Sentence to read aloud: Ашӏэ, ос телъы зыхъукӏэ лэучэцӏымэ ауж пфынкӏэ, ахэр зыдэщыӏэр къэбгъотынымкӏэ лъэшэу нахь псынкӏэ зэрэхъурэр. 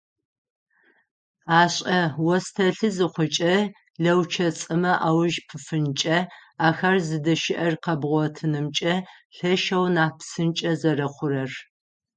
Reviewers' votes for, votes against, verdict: 0, 6, rejected